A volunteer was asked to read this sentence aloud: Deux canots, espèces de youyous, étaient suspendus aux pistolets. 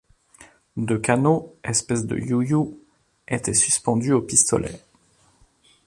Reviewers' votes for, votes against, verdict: 0, 2, rejected